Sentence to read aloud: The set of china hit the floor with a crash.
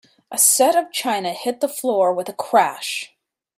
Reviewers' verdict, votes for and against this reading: rejected, 1, 2